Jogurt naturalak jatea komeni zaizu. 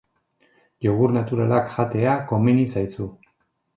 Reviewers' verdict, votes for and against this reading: accepted, 2, 0